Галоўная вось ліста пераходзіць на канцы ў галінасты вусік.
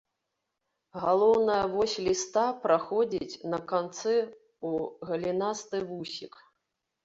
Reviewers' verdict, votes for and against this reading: rejected, 1, 2